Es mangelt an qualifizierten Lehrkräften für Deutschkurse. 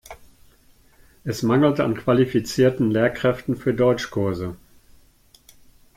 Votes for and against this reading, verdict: 1, 2, rejected